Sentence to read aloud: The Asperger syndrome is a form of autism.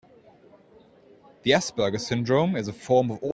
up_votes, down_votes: 0, 2